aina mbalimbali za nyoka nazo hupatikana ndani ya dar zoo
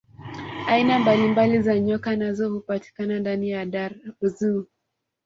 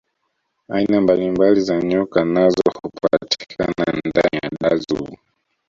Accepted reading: first